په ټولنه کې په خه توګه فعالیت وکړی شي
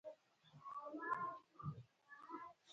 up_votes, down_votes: 1, 3